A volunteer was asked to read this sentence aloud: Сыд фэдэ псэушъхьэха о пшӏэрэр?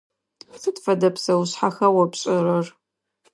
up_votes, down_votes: 2, 0